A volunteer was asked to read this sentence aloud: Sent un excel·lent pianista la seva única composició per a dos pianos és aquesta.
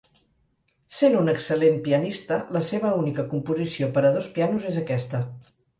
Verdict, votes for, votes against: accepted, 4, 0